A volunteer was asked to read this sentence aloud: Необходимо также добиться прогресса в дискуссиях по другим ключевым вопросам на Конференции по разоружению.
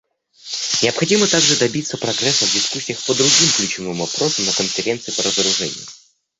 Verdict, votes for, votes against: rejected, 0, 2